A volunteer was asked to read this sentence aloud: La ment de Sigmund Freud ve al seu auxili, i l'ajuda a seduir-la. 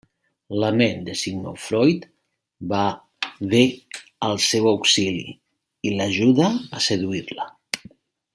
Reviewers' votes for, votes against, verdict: 1, 2, rejected